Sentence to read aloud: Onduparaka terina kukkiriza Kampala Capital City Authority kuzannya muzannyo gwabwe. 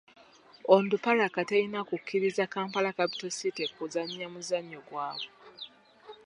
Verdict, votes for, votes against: rejected, 1, 2